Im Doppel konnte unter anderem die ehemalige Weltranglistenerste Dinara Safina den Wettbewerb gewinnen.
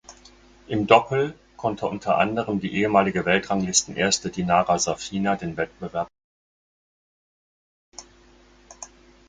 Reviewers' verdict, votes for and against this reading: rejected, 0, 4